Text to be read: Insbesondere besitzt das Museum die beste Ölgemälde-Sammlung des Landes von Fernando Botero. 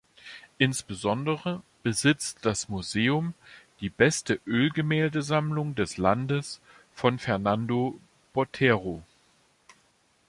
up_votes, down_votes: 2, 0